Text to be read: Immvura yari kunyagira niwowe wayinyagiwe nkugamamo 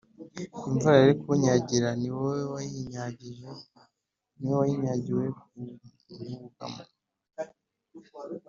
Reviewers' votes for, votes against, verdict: 0, 2, rejected